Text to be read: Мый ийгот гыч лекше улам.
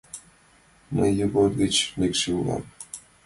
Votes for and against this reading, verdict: 2, 1, accepted